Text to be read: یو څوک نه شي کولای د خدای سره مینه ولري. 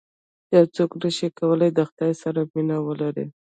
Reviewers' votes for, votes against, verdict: 2, 0, accepted